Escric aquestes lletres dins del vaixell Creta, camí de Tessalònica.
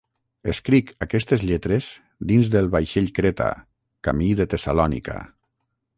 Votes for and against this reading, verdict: 6, 0, accepted